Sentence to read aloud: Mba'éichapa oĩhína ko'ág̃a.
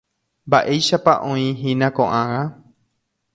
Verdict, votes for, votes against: accepted, 2, 0